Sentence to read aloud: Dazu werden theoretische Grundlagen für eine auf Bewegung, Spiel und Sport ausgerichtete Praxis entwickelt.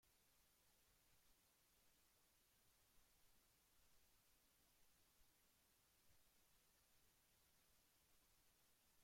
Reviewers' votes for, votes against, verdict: 0, 2, rejected